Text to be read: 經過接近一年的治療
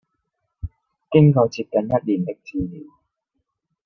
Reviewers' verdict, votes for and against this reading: rejected, 0, 2